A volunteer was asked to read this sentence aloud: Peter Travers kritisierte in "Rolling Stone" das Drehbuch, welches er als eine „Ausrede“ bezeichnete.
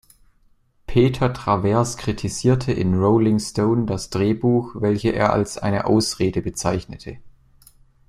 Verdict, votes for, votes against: rejected, 1, 2